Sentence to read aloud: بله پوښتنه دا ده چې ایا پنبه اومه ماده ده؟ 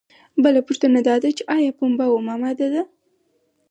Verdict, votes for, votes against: accepted, 4, 0